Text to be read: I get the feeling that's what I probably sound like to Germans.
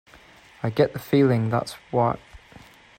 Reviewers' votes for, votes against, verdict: 0, 2, rejected